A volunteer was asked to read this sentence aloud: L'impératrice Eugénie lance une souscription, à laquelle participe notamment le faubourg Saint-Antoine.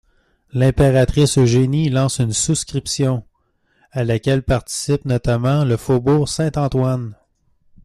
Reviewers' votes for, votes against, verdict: 2, 0, accepted